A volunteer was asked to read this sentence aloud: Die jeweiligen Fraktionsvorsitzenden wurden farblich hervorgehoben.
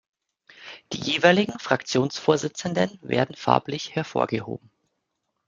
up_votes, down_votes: 0, 2